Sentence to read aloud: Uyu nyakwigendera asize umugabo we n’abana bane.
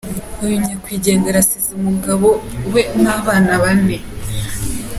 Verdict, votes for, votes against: accepted, 3, 0